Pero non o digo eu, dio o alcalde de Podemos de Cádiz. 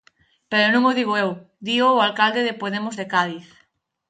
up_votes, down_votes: 4, 0